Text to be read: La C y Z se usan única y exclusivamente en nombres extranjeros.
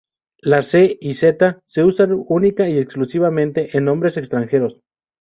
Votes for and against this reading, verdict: 2, 0, accepted